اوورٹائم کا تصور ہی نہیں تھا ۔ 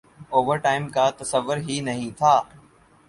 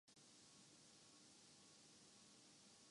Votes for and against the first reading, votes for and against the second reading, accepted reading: 4, 0, 0, 2, first